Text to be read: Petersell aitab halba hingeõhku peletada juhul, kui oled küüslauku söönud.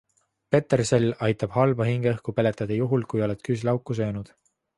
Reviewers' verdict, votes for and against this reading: accepted, 2, 0